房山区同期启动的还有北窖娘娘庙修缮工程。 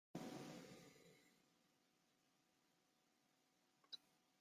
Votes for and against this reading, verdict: 0, 2, rejected